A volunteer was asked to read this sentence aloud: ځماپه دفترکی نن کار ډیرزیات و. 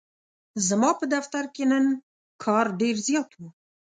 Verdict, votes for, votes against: rejected, 1, 2